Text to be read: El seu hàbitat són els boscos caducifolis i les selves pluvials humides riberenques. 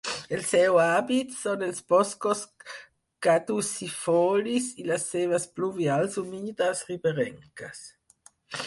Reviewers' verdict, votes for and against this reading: rejected, 2, 4